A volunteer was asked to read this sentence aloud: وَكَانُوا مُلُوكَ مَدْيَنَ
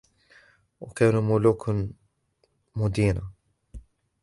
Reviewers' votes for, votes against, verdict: 0, 2, rejected